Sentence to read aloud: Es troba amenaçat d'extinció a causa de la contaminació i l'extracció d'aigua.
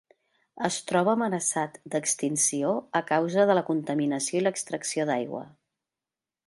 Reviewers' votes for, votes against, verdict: 2, 1, accepted